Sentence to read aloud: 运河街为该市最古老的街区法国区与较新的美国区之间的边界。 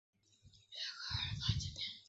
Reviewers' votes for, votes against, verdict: 1, 5, rejected